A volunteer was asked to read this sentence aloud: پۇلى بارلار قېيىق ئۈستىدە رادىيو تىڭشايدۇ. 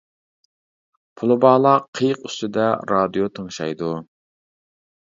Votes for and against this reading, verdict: 0, 2, rejected